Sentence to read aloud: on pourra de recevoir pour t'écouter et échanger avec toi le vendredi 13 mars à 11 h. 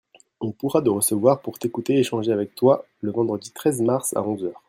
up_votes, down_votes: 0, 2